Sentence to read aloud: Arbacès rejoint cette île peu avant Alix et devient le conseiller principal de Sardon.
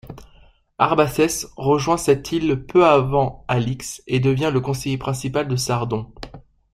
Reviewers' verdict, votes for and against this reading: accepted, 2, 0